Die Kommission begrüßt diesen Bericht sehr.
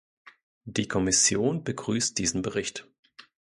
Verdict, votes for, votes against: rejected, 0, 2